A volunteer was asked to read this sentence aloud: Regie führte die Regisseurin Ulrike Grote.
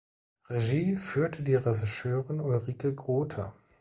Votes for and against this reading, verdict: 0, 2, rejected